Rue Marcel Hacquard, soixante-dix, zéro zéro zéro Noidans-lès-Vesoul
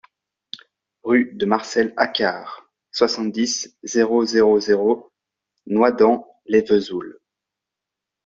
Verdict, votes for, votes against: rejected, 0, 2